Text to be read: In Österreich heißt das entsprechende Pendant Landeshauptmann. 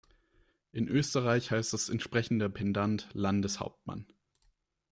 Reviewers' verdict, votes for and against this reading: rejected, 1, 2